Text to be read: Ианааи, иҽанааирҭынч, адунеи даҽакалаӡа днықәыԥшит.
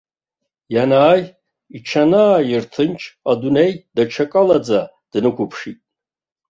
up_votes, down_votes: 2, 0